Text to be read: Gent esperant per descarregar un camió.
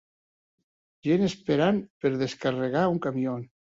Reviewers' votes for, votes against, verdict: 2, 0, accepted